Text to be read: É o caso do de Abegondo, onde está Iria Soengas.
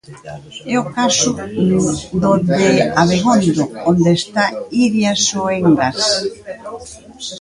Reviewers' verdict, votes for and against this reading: rejected, 0, 2